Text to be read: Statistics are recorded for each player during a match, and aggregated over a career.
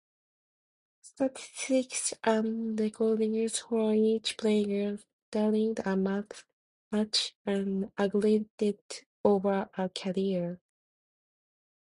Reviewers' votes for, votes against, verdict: 0, 2, rejected